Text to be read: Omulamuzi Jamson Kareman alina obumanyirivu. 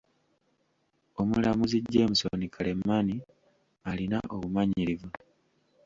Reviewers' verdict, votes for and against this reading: rejected, 1, 2